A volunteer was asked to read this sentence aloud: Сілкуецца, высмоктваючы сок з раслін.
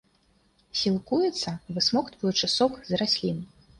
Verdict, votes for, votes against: accepted, 2, 0